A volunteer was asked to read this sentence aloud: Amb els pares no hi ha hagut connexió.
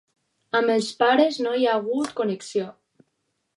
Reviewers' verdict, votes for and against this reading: accepted, 4, 0